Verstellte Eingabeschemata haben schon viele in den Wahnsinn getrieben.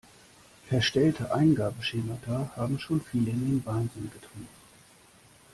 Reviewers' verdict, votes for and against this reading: accepted, 2, 0